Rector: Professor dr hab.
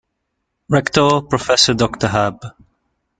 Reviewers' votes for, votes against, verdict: 2, 0, accepted